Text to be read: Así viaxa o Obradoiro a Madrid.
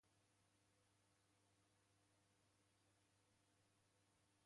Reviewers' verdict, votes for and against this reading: rejected, 0, 2